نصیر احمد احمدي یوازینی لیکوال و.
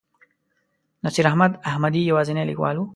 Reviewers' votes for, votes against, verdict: 2, 0, accepted